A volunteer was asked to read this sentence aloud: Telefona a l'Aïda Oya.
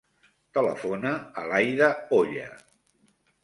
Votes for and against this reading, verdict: 3, 0, accepted